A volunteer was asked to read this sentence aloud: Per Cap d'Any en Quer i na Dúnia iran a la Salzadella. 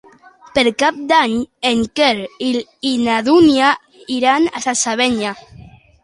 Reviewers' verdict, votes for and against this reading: rejected, 1, 2